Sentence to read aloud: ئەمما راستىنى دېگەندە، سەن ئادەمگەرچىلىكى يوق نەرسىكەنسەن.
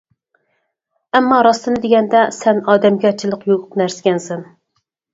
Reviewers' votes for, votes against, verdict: 2, 4, rejected